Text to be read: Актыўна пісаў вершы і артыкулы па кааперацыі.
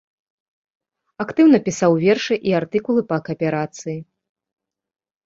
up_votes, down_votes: 2, 0